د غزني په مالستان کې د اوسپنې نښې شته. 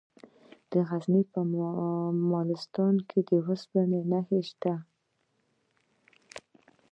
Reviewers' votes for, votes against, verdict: 1, 2, rejected